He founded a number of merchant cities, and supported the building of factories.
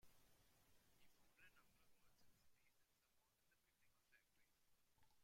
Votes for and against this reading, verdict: 0, 2, rejected